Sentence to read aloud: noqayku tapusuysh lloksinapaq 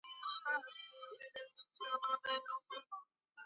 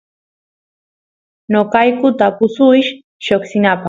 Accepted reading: second